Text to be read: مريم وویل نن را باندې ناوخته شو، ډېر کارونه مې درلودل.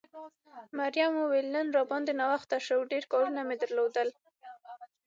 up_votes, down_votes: 6, 0